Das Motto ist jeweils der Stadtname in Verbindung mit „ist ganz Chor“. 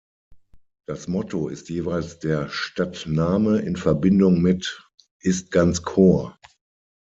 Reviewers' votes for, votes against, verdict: 6, 3, accepted